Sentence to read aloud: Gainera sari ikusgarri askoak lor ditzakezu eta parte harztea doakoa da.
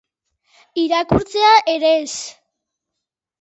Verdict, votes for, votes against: rejected, 0, 4